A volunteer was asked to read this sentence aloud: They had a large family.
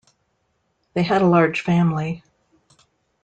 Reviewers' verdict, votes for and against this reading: accepted, 2, 0